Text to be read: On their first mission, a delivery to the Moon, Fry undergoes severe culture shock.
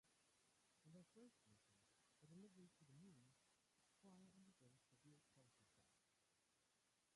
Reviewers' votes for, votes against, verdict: 0, 2, rejected